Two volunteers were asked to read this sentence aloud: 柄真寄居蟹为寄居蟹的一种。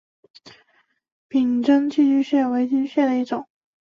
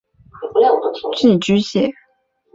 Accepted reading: first